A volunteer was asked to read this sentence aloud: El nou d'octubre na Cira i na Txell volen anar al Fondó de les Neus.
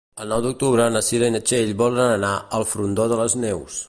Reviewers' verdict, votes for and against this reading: rejected, 1, 3